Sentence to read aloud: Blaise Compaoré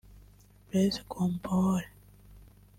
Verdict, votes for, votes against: rejected, 1, 2